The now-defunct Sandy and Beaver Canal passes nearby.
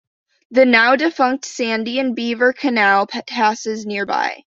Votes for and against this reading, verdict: 1, 2, rejected